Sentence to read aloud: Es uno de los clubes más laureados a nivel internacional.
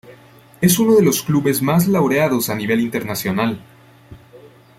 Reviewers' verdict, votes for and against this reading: accepted, 2, 0